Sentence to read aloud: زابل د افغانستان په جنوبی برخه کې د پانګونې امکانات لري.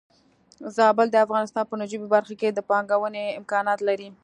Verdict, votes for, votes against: rejected, 1, 2